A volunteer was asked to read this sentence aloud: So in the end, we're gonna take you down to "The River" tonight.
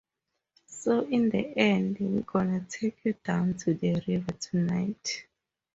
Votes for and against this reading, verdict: 4, 0, accepted